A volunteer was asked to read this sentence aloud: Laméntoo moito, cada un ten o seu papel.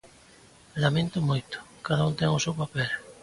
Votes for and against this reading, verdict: 2, 1, accepted